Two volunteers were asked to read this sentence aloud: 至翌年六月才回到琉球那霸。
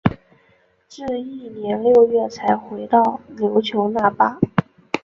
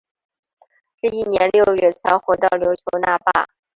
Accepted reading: second